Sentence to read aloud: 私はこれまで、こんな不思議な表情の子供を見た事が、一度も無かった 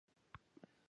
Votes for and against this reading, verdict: 0, 2, rejected